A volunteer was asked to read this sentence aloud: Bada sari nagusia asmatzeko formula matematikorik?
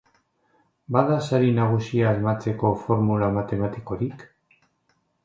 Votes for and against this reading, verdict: 2, 0, accepted